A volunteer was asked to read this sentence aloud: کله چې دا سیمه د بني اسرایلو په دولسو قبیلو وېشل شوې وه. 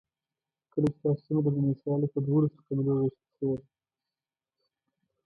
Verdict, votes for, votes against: rejected, 1, 2